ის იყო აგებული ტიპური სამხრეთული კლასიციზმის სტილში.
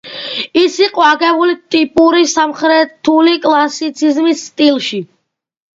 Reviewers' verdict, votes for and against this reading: accepted, 2, 1